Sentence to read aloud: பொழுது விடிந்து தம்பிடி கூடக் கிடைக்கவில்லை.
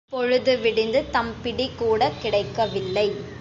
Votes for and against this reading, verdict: 2, 0, accepted